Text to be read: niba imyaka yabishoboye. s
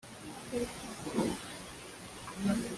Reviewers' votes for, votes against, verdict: 2, 4, rejected